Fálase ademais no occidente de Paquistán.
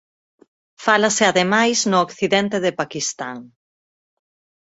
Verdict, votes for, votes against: accepted, 4, 0